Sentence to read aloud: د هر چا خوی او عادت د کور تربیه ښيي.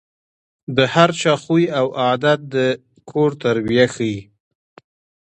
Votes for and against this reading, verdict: 2, 0, accepted